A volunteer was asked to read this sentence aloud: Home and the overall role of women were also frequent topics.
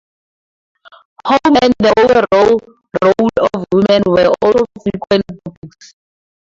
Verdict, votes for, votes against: rejected, 0, 2